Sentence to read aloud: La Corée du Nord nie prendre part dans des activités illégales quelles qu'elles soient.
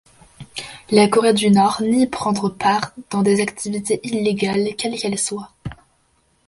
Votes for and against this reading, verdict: 2, 0, accepted